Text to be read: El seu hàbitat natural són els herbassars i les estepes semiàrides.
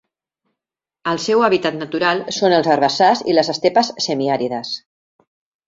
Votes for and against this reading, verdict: 3, 0, accepted